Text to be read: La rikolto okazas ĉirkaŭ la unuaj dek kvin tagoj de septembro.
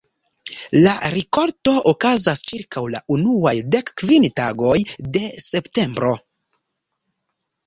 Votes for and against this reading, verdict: 1, 2, rejected